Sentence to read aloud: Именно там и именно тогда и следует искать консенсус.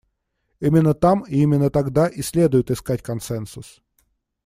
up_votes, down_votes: 2, 0